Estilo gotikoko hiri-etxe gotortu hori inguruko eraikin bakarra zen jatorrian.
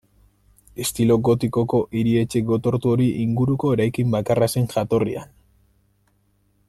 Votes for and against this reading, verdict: 2, 0, accepted